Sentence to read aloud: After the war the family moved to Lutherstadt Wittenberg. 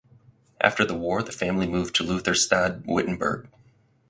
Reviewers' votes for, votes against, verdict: 4, 0, accepted